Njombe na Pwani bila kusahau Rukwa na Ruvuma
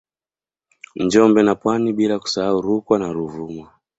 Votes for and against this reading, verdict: 2, 0, accepted